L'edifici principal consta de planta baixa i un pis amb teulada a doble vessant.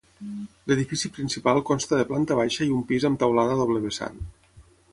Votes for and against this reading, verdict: 6, 0, accepted